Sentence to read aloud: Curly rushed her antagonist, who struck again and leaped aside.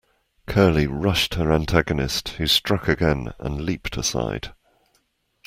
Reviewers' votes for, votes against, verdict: 2, 0, accepted